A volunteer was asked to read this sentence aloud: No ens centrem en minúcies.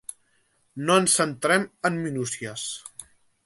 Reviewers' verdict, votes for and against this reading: accepted, 4, 0